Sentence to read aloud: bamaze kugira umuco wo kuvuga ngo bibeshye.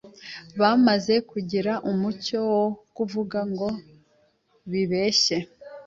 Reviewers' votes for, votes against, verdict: 2, 0, accepted